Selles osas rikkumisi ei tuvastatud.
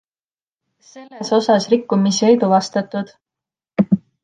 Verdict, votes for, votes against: accepted, 2, 0